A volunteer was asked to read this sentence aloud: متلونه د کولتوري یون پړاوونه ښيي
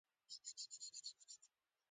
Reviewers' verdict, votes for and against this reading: rejected, 0, 2